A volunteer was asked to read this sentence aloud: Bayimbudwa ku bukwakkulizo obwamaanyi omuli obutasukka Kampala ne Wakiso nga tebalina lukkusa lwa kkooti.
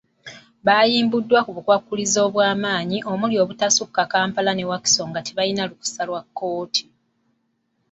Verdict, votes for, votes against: accepted, 2, 0